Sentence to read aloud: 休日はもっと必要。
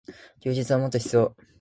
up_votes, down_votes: 2, 0